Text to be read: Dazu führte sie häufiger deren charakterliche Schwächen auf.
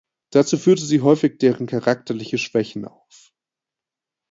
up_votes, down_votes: 0, 2